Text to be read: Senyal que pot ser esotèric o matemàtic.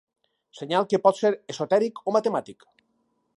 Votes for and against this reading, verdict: 4, 0, accepted